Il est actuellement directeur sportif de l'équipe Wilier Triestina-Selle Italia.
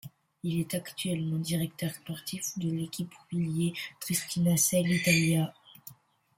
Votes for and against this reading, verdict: 2, 0, accepted